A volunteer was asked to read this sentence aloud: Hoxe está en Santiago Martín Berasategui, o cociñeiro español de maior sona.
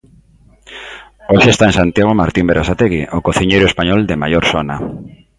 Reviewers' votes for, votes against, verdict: 1, 2, rejected